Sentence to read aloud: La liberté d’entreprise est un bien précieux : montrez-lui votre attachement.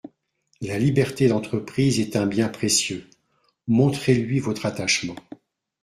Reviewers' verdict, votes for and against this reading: accepted, 2, 0